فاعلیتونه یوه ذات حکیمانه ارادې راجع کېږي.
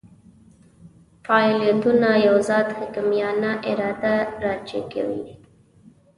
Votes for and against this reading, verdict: 0, 2, rejected